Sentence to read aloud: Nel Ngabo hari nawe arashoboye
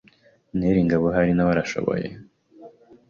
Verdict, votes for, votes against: accepted, 2, 0